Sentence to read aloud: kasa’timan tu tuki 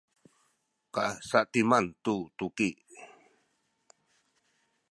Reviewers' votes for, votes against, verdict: 0, 2, rejected